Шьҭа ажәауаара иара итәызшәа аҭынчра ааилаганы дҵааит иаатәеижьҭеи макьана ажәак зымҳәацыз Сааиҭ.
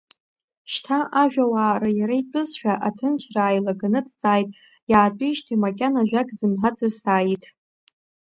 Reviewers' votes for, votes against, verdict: 2, 1, accepted